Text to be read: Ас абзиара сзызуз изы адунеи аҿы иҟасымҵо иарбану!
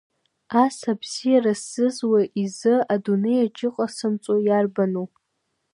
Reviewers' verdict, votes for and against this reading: accepted, 2, 1